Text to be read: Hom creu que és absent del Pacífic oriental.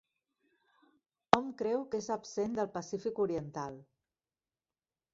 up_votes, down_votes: 2, 1